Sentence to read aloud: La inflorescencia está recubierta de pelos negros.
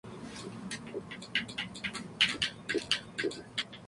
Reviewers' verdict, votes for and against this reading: rejected, 0, 2